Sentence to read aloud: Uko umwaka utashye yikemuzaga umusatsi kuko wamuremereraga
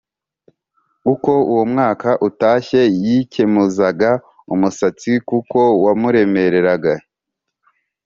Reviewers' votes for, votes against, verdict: 3, 0, accepted